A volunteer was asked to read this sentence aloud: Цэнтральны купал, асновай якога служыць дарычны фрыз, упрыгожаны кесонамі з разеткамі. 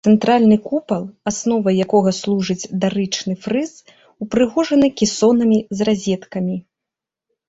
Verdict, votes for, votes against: accepted, 2, 0